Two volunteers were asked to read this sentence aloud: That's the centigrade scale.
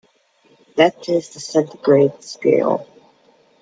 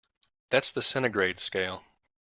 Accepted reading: second